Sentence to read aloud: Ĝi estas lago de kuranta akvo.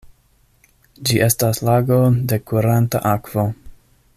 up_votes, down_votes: 1, 2